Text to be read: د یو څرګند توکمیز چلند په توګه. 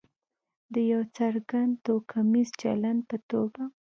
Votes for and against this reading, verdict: 1, 2, rejected